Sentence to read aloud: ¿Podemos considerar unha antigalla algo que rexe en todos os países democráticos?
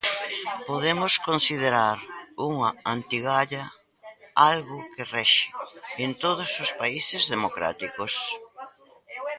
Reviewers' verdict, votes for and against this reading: rejected, 0, 2